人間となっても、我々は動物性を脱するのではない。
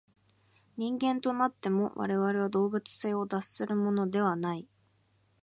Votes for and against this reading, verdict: 2, 3, rejected